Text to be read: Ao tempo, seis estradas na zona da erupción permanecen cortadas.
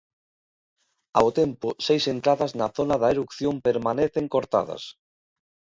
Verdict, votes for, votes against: rejected, 0, 2